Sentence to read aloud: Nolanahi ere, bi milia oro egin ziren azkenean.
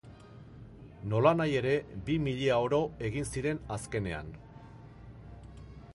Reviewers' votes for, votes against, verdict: 2, 0, accepted